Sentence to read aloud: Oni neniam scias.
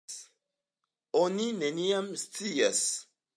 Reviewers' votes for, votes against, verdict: 2, 0, accepted